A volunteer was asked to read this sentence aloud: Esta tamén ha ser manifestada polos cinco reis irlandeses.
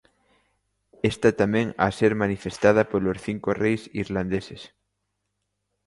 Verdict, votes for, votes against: accepted, 2, 1